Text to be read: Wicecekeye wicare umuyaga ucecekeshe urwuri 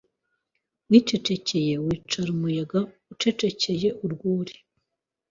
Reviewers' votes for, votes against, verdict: 0, 2, rejected